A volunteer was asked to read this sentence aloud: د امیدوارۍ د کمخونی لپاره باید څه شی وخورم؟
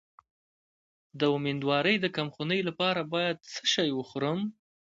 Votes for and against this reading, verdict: 2, 0, accepted